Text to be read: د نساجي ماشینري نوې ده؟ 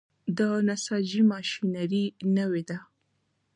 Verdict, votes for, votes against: accepted, 2, 0